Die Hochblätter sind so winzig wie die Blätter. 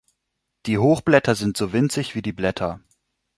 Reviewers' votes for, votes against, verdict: 2, 0, accepted